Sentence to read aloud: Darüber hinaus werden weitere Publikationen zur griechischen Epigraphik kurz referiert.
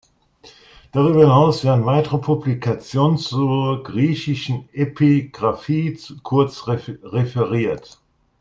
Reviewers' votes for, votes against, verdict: 0, 2, rejected